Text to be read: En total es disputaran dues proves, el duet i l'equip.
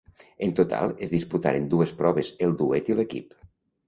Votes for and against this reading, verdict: 0, 2, rejected